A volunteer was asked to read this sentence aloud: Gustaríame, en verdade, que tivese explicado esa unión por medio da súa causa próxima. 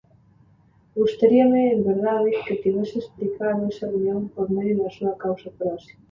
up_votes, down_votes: 2, 0